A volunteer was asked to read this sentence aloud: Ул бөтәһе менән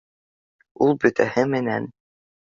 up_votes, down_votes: 3, 0